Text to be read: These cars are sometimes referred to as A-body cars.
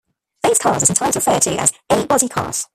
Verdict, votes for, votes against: rejected, 0, 2